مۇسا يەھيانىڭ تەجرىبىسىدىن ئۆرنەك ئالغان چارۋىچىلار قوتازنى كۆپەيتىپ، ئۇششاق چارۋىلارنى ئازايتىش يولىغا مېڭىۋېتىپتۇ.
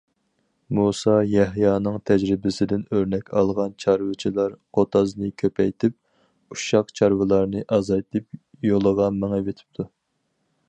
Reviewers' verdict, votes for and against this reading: rejected, 2, 4